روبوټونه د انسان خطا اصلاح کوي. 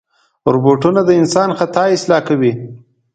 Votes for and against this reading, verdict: 2, 0, accepted